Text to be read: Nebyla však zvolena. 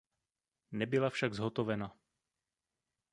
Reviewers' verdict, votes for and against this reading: rejected, 0, 2